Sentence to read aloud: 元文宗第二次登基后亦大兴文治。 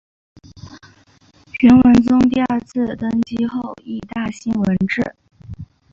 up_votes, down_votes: 4, 0